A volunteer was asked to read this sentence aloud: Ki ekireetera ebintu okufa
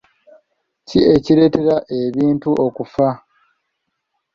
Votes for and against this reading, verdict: 2, 0, accepted